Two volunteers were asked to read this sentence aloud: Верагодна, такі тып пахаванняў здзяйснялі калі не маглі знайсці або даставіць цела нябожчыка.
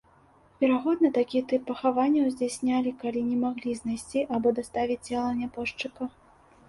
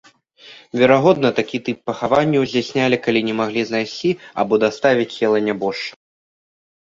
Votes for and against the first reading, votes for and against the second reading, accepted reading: 2, 0, 1, 2, first